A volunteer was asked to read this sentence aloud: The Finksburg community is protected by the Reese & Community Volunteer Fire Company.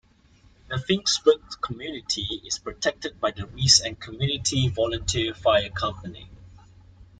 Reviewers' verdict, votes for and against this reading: rejected, 0, 2